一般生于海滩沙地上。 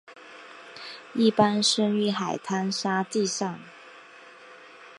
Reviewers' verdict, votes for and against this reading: accepted, 3, 0